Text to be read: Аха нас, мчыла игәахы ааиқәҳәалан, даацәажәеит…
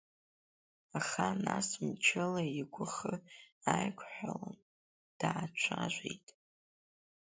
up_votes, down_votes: 4, 3